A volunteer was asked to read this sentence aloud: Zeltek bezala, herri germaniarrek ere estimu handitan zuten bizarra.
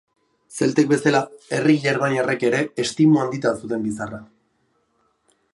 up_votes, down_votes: 2, 0